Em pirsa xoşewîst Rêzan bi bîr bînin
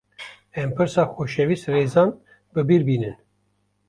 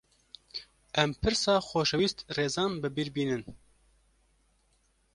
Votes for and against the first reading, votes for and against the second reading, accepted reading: 1, 2, 2, 0, second